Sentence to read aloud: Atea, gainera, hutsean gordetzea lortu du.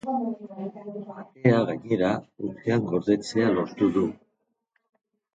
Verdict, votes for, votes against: rejected, 1, 4